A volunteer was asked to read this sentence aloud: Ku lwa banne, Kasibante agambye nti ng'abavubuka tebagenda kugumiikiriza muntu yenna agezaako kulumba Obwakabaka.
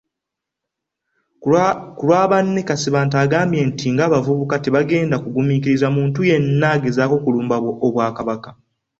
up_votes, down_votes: 2, 1